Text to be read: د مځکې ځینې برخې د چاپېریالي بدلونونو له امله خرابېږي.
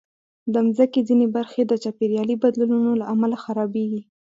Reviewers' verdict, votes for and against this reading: accepted, 4, 0